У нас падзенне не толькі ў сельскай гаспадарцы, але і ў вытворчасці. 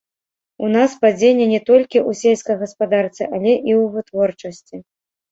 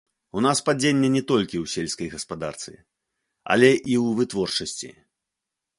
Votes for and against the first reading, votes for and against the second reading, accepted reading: 0, 2, 2, 0, second